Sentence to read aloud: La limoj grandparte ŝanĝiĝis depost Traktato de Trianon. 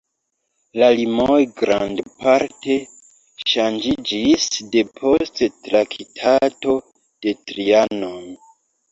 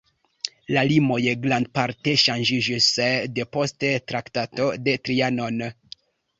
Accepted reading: second